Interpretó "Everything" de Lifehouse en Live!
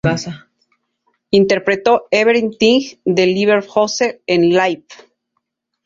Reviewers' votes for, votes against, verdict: 0, 2, rejected